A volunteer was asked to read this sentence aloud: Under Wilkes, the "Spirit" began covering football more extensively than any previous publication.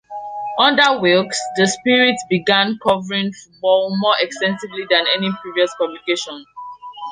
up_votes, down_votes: 1, 2